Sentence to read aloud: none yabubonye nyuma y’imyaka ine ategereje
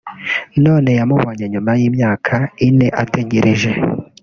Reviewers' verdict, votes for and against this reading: rejected, 1, 2